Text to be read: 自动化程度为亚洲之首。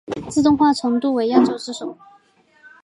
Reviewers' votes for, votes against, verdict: 2, 0, accepted